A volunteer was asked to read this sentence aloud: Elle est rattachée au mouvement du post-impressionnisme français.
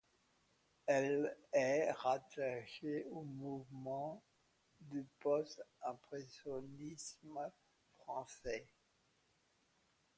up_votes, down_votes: 1, 2